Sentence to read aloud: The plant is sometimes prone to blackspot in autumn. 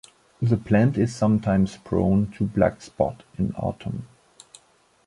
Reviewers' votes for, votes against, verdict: 2, 0, accepted